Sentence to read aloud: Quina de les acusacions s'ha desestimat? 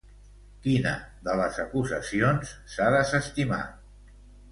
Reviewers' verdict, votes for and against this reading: rejected, 1, 2